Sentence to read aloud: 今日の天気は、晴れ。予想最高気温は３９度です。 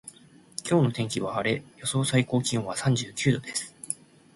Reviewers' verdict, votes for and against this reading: rejected, 0, 2